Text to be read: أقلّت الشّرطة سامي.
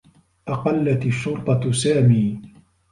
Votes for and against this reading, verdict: 2, 0, accepted